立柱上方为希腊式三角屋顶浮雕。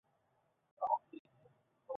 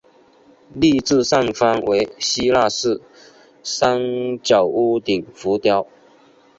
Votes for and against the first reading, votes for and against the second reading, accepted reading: 0, 2, 3, 0, second